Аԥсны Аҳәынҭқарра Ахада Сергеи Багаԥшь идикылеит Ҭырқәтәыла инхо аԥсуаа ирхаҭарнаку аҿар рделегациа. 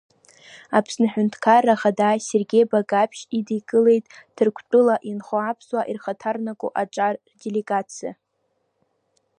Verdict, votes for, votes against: accepted, 2, 0